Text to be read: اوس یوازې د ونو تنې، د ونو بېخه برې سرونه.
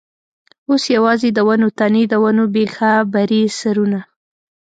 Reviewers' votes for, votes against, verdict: 2, 0, accepted